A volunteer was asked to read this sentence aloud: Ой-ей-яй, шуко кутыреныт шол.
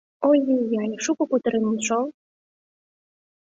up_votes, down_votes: 2, 0